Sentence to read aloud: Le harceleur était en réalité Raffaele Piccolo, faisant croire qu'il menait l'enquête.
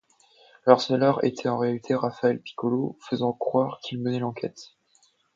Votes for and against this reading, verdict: 2, 0, accepted